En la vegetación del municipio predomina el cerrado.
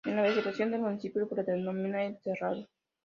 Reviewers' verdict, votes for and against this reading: rejected, 0, 2